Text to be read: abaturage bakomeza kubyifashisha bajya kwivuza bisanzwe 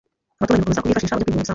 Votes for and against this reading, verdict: 0, 2, rejected